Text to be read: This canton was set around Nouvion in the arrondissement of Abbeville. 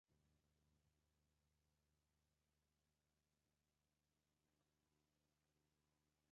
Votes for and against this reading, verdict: 0, 2, rejected